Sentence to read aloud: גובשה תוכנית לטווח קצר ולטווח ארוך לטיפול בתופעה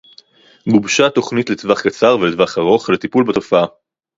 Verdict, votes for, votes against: accepted, 4, 0